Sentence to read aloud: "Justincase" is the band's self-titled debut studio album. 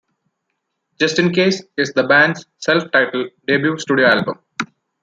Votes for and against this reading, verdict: 2, 0, accepted